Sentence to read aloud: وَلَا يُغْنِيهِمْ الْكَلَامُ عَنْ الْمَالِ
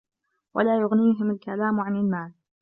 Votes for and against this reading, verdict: 2, 1, accepted